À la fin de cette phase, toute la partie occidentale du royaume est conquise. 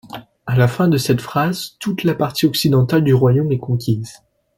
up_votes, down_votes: 0, 2